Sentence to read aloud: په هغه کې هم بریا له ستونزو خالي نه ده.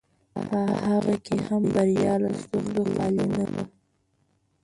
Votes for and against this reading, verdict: 1, 2, rejected